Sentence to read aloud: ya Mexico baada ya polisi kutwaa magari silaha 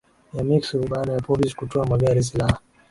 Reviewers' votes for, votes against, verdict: 2, 1, accepted